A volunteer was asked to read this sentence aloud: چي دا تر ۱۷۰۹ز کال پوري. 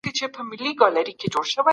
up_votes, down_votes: 0, 2